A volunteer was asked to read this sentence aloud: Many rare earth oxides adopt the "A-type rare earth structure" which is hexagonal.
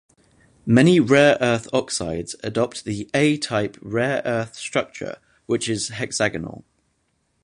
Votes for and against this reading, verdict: 2, 0, accepted